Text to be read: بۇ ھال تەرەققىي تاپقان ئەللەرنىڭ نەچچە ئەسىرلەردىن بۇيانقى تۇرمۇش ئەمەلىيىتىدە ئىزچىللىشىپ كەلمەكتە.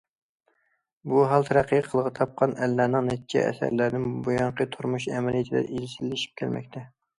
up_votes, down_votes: 1, 2